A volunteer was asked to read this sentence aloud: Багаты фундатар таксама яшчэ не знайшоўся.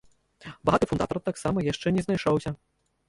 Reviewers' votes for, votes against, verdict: 0, 2, rejected